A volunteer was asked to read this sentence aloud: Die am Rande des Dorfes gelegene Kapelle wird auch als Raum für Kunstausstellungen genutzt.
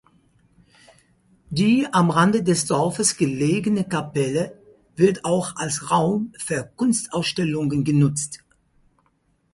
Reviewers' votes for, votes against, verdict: 4, 0, accepted